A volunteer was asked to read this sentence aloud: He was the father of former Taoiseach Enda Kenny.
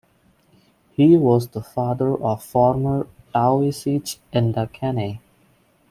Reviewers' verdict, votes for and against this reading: accepted, 3, 1